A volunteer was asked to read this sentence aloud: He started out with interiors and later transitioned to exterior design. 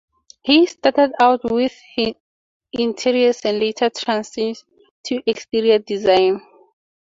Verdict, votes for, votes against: rejected, 2, 2